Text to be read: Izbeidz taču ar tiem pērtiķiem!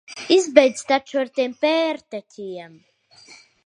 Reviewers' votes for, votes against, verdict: 0, 3, rejected